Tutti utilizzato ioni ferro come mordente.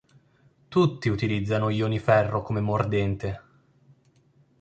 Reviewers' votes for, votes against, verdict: 1, 2, rejected